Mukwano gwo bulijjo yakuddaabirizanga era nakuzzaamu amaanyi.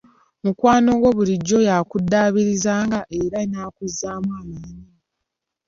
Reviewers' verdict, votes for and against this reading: rejected, 1, 2